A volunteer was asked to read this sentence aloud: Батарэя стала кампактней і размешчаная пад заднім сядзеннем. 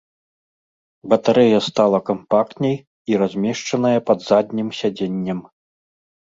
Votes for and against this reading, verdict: 2, 0, accepted